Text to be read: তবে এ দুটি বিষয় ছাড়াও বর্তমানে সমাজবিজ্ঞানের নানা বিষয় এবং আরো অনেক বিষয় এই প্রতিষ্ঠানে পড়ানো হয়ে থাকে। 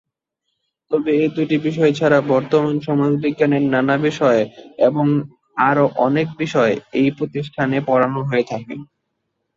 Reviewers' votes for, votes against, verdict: 0, 2, rejected